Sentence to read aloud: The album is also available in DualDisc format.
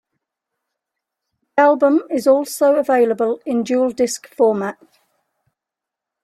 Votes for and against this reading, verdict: 1, 2, rejected